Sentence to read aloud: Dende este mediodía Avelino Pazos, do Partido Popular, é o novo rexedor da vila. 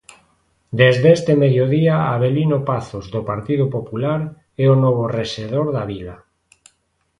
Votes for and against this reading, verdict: 1, 2, rejected